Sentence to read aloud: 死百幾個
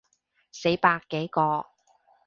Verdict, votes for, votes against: accepted, 3, 0